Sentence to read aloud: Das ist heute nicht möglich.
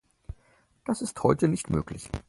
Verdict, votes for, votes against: accepted, 4, 0